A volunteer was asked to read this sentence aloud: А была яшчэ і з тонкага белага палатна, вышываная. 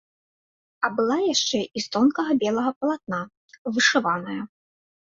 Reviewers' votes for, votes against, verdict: 1, 2, rejected